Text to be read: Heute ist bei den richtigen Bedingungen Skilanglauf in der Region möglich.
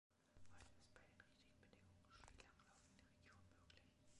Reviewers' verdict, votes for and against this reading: rejected, 1, 2